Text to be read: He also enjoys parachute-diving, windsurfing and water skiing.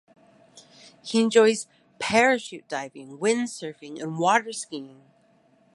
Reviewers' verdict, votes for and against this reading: rejected, 0, 2